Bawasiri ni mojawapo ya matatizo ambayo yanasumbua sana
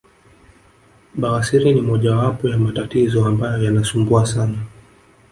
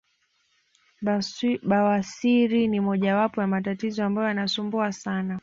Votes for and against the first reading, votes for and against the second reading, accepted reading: 1, 2, 2, 0, second